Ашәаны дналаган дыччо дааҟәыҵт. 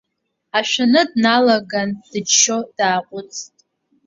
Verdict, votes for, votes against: accepted, 2, 1